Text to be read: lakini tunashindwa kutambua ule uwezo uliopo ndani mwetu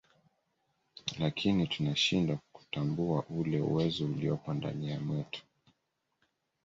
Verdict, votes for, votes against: rejected, 0, 2